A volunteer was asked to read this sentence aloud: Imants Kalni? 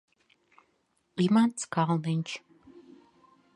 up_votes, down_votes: 1, 2